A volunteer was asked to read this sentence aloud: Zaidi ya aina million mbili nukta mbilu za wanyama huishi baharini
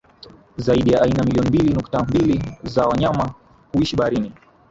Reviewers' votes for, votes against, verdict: 2, 1, accepted